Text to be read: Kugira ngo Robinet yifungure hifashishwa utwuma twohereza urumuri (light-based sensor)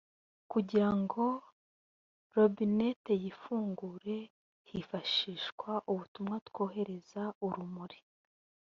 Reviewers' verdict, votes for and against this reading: rejected, 0, 2